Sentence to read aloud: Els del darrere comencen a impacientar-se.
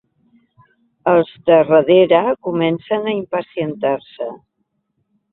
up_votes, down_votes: 1, 2